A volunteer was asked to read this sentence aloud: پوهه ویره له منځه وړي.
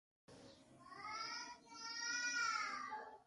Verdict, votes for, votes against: rejected, 1, 2